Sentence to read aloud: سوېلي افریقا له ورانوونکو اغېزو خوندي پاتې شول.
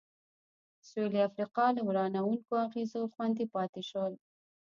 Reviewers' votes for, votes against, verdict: 1, 2, rejected